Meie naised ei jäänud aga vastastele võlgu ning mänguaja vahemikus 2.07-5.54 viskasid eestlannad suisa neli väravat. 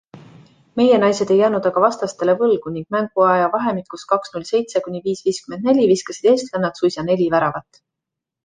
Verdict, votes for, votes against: rejected, 0, 2